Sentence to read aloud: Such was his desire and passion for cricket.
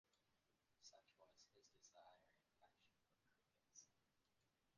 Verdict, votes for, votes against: rejected, 0, 2